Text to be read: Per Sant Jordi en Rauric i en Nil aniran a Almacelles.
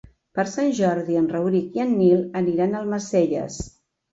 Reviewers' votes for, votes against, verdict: 3, 0, accepted